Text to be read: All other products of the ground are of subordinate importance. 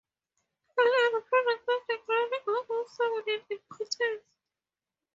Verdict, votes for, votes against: rejected, 0, 4